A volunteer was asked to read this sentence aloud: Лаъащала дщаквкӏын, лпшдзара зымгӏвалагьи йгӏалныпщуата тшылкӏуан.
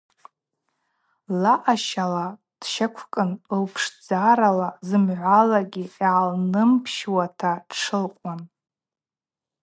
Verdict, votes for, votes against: rejected, 0, 2